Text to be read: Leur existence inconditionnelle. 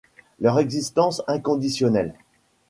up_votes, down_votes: 2, 0